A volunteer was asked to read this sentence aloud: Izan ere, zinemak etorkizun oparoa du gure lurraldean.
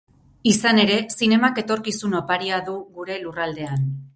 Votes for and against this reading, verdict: 0, 4, rejected